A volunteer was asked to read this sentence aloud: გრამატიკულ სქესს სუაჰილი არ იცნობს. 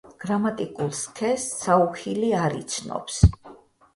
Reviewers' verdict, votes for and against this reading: rejected, 0, 4